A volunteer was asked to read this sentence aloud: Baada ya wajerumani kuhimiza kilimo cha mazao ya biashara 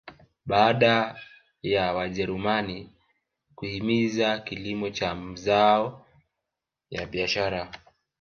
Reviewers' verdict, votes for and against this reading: rejected, 1, 2